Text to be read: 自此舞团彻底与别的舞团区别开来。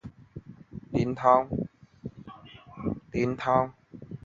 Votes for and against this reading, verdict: 1, 2, rejected